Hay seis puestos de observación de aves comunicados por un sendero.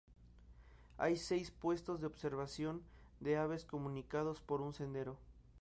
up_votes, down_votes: 2, 0